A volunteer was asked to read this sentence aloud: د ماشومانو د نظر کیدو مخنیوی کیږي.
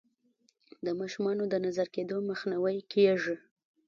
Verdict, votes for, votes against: rejected, 1, 2